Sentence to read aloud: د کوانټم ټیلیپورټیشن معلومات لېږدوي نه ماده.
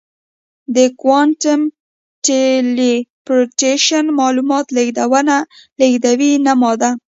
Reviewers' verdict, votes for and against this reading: rejected, 1, 2